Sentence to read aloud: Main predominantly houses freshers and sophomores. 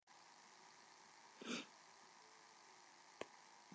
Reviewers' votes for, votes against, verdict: 0, 2, rejected